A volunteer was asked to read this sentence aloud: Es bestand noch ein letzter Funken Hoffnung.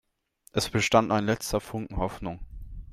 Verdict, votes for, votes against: rejected, 1, 3